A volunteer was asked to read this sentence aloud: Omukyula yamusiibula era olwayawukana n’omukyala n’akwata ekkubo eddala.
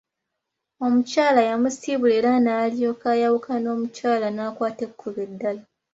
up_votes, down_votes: 0, 2